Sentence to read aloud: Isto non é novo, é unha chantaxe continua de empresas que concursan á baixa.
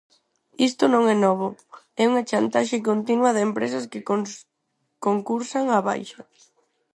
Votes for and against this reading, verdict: 0, 4, rejected